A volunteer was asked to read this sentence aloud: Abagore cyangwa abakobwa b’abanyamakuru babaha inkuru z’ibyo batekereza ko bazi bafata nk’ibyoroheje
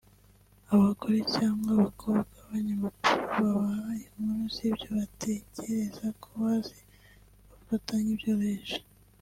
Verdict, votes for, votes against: accepted, 2, 0